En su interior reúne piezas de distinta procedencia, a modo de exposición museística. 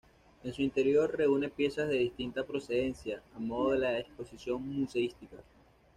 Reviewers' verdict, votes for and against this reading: rejected, 1, 2